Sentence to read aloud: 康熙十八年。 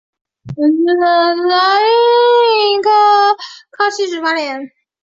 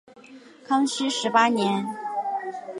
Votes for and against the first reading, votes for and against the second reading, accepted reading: 0, 2, 3, 0, second